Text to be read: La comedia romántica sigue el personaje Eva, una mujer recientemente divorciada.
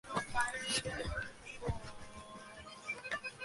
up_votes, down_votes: 0, 2